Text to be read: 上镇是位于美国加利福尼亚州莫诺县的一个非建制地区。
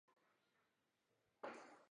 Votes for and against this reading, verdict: 0, 2, rejected